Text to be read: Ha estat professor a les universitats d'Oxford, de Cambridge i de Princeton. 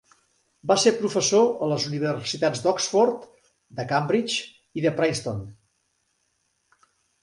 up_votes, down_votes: 1, 4